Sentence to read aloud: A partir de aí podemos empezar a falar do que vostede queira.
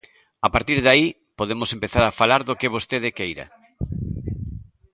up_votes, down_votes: 1, 2